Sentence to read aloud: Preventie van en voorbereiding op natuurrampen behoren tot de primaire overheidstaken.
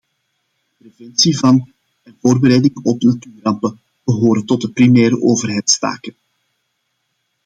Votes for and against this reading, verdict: 0, 2, rejected